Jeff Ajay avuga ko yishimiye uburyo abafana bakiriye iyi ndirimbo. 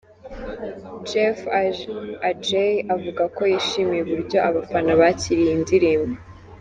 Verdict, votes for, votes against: rejected, 1, 2